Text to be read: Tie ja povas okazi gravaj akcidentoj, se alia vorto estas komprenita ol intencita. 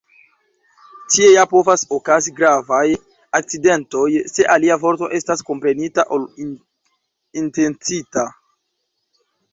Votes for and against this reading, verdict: 0, 2, rejected